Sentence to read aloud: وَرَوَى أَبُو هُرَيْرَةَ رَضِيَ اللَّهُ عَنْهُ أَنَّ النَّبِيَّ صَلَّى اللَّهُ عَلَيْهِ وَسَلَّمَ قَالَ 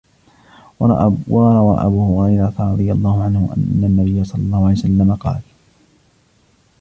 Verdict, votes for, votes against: rejected, 1, 2